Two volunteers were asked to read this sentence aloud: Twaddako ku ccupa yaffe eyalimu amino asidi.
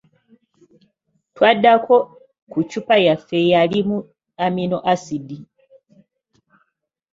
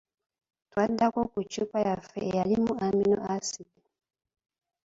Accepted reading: first